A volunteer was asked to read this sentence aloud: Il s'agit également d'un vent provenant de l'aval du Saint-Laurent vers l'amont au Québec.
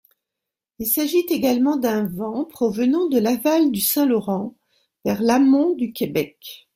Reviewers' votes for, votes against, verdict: 1, 2, rejected